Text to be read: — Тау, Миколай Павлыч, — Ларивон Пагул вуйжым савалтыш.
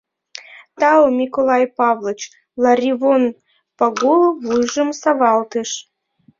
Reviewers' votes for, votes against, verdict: 2, 0, accepted